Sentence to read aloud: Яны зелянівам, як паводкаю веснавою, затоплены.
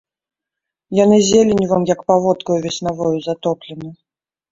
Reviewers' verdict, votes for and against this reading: rejected, 0, 2